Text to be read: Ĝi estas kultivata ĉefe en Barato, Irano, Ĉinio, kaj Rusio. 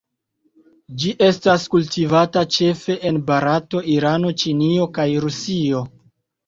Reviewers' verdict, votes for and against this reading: accepted, 2, 0